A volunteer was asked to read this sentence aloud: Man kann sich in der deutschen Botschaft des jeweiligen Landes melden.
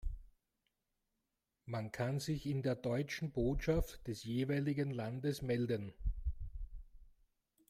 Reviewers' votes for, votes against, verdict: 2, 0, accepted